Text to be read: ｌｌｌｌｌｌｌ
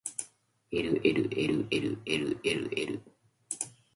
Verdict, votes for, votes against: accepted, 2, 0